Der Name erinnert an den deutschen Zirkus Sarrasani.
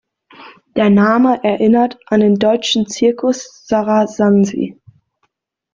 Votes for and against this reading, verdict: 0, 2, rejected